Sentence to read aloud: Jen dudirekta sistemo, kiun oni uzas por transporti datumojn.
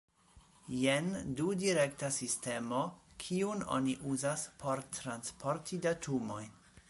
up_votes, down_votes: 2, 0